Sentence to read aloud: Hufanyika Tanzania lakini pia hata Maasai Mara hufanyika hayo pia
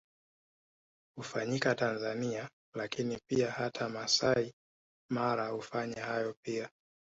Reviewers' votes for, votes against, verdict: 1, 2, rejected